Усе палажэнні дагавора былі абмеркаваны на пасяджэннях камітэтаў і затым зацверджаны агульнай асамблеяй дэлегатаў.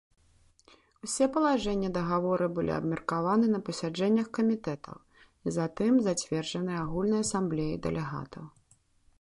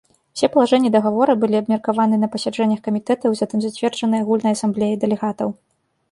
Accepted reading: first